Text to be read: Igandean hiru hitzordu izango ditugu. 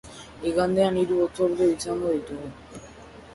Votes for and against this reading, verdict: 0, 2, rejected